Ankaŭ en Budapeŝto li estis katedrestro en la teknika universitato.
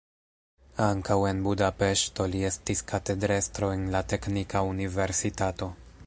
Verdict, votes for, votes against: accepted, 2, 1